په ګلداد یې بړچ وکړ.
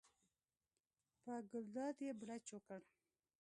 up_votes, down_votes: 2, 0